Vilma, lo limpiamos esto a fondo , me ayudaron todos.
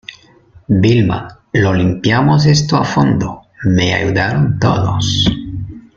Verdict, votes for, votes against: accepted, 2, 0